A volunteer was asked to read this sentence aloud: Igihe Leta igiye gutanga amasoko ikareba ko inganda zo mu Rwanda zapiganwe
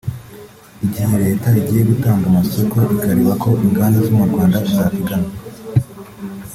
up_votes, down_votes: 2, 0